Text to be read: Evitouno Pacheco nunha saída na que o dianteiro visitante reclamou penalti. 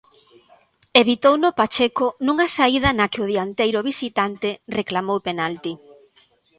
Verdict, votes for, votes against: accepted, 2, 1